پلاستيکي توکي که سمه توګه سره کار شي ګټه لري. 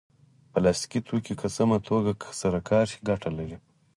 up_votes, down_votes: 4, 2